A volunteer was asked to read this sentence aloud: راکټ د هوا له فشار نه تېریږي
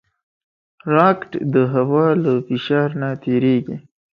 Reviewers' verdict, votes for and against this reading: accepted, 2, 0